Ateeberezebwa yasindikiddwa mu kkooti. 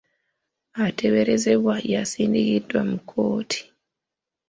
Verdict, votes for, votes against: accepted, 2, 1